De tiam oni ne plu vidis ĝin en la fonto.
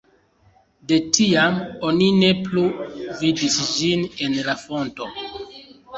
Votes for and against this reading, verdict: 2, 3, rejected